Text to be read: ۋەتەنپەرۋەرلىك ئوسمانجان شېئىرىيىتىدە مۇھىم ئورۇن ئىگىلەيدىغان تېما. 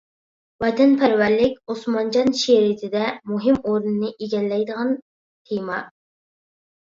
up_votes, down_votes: 0, 2